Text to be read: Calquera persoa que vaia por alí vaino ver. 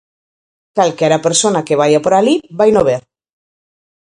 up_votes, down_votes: 0, 4